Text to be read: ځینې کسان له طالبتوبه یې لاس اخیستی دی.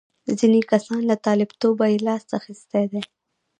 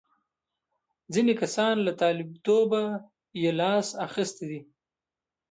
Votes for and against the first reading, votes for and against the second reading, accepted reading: 1, 2, 2, 0, second